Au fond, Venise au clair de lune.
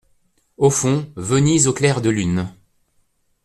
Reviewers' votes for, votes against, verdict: 2, 0, accepted